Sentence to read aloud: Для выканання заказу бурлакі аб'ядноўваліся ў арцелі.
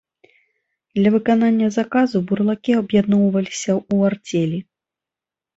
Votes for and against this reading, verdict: 2, 0, accepted